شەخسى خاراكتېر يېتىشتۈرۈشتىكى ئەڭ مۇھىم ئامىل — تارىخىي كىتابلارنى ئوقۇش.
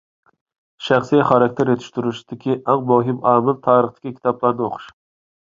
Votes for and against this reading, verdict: 0, 2, rejected